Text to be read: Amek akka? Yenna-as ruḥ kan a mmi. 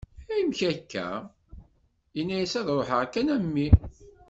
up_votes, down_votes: 1, 2